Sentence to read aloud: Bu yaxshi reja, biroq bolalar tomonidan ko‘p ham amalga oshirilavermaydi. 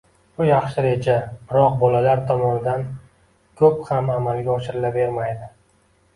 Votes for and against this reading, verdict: 2, 0, accepted